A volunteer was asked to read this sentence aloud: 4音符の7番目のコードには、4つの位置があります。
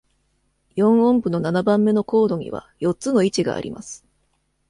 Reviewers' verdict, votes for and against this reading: rejected, 0, 2